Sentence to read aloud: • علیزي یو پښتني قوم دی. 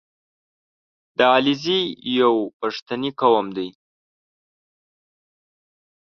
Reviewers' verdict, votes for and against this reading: rejected, 1, 2